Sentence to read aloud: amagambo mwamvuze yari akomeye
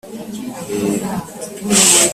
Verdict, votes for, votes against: rejected, 0, 2